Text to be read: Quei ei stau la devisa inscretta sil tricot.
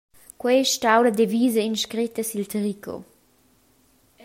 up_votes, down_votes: 2, 0